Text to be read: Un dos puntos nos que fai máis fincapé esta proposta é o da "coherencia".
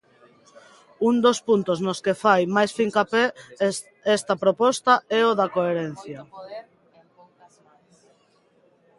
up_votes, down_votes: 0, 2